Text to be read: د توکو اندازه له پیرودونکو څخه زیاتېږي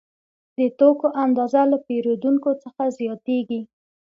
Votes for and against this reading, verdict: 2, 0, accepted